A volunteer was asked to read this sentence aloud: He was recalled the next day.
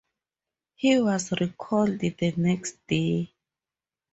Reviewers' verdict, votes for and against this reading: accepted, 4, 2